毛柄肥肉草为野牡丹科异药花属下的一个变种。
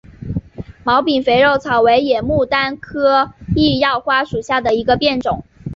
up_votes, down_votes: 2, 0